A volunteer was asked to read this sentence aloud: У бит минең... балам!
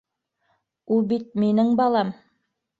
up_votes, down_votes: 1, 2